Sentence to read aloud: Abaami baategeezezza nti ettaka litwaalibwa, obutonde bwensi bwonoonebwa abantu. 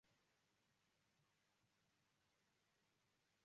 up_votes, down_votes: 0, 2